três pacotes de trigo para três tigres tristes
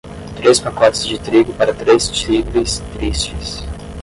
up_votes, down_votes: 5, 10